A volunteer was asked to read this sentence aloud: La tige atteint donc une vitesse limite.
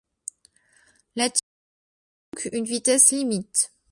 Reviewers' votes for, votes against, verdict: 0, 2, rejected